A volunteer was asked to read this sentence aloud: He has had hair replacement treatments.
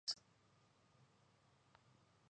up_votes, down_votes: 0, 2